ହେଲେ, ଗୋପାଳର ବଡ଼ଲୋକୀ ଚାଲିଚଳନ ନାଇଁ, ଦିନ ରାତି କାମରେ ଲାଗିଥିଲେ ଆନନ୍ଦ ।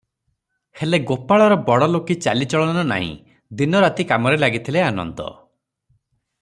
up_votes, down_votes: 3, 0